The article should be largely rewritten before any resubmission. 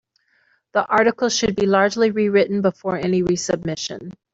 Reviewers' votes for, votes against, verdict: 2, 0, accepted